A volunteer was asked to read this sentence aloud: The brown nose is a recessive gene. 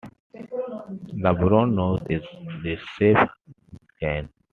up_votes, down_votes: 2, 0